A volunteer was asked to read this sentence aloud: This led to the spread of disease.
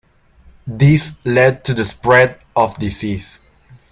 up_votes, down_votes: 2, 1